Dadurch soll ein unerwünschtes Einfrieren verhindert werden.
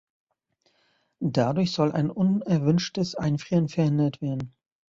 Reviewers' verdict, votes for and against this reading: accepted, 2, 0